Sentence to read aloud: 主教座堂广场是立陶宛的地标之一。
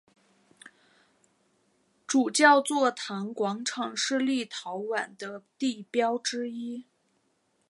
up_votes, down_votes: 2, 0